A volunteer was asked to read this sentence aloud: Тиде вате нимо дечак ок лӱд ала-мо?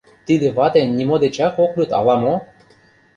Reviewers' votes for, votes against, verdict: 2, 0, accepted